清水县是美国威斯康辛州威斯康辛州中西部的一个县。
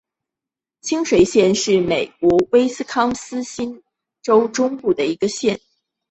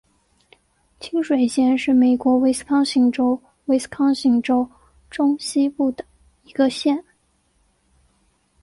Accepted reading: second